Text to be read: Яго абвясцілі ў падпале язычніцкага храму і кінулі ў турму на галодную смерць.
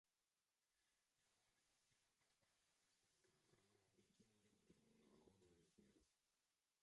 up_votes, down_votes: 0, 2